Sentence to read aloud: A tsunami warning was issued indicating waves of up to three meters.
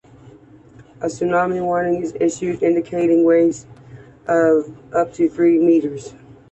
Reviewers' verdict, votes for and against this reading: accepted, 2, 0